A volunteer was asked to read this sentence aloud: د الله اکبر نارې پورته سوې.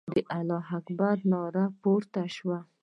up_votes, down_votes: 0, 2